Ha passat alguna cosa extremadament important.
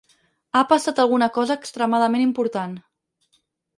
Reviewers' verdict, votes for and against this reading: accepted, 4, 0